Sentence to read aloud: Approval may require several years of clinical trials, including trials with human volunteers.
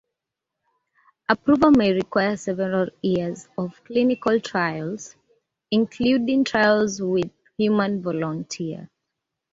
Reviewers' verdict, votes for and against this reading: accepted, 2, 1